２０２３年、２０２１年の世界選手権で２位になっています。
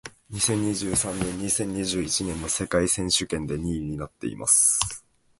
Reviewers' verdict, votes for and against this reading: rejected, 0, 2